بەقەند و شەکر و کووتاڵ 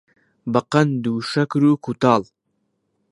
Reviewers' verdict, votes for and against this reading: accepted, 2, 0